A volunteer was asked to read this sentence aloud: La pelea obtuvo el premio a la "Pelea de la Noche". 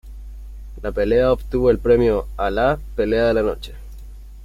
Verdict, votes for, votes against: accepted, 2, 0